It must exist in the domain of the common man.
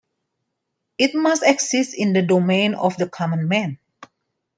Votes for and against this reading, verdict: 2, 0, accepted